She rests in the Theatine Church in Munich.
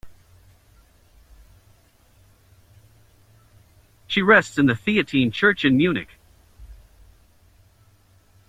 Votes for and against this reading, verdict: 0, 2, rejected